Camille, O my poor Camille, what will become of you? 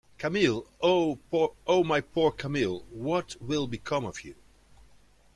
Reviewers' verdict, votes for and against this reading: rejected, 0, 2